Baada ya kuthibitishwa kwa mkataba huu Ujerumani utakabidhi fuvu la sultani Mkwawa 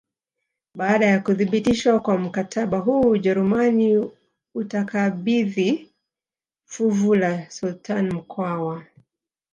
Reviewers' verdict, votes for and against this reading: rejected, 1, 2